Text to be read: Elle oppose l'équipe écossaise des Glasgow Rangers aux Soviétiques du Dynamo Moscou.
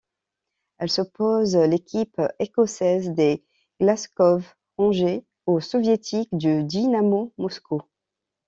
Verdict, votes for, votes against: rejected, 0, 2